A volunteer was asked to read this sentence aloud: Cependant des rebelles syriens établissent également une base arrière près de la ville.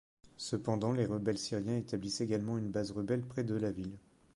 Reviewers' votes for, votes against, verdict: 1, 2, rejected